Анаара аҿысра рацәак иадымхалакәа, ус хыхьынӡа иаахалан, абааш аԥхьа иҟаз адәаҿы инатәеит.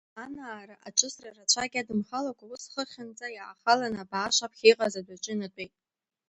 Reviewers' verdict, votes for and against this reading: rejected, 0, 2